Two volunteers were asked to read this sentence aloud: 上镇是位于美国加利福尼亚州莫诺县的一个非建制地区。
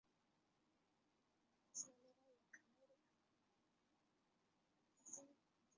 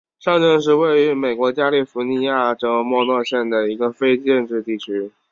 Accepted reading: second